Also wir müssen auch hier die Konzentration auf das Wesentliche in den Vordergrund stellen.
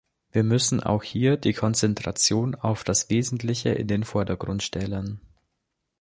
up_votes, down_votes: 1, 2